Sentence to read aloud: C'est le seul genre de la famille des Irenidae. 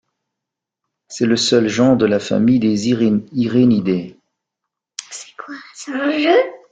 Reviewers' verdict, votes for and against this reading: rejected, 1, 2